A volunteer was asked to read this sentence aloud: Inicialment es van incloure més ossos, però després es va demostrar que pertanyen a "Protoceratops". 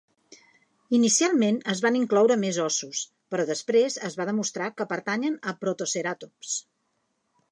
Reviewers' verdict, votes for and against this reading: accepted, 3, 0